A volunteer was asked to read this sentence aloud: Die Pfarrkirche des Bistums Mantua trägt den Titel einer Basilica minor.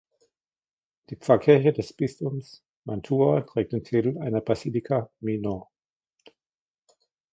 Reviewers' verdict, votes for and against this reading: rejected, 1, 2